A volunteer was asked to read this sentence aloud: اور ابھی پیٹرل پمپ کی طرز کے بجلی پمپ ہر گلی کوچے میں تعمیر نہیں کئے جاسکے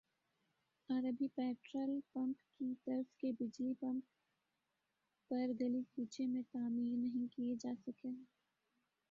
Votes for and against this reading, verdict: 1, 2, rejected